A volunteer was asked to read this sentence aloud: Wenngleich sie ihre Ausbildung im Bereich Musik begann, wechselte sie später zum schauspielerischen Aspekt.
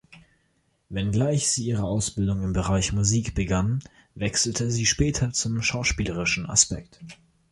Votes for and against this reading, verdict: 2, 1, accepted